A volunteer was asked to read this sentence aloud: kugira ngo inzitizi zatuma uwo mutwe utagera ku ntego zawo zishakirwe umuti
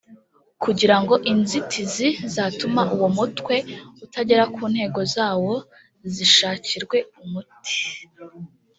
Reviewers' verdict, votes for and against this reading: accepted, 2, 0